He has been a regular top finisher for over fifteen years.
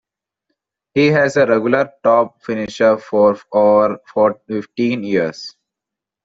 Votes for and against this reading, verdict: 0, 2, rejected